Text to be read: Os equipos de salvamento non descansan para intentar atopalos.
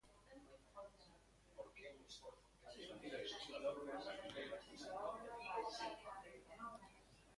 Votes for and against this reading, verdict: 0, 3, rejected